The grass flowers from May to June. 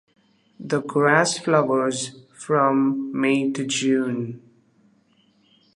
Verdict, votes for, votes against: accepted, 2, 0